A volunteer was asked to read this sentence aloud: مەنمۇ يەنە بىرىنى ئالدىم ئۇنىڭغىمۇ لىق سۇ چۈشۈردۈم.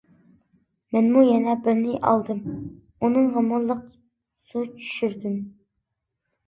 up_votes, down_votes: 2, 0